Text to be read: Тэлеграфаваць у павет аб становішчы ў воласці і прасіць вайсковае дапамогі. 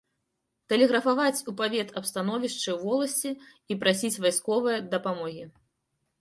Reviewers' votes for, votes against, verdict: 2, 0, accepted